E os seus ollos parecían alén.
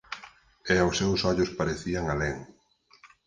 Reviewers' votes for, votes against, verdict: 6, 0, accepted